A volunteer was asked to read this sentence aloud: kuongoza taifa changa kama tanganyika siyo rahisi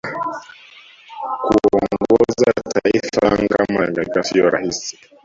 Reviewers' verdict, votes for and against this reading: rejected, 0, 2